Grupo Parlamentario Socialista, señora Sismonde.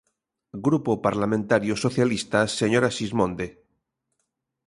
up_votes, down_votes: 2, 0